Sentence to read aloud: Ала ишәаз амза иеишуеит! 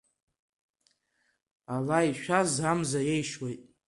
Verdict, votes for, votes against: accepted, 3, 1